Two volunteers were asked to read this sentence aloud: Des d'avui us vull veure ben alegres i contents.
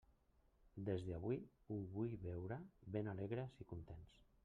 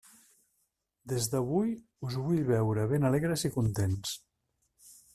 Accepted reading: second